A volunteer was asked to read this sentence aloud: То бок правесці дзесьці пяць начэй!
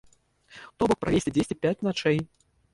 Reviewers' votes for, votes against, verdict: 0, 2, rejected